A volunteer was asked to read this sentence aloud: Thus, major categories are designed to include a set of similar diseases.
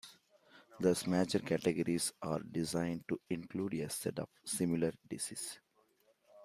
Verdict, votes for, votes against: rejected, 1, 2